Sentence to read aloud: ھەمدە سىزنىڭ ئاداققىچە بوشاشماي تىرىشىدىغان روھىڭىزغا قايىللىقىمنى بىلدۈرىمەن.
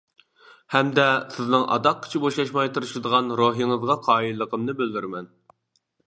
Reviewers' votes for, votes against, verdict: 2, 0, accepted